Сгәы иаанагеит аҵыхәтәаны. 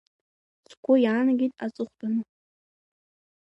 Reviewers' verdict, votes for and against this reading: rejected, 1, 2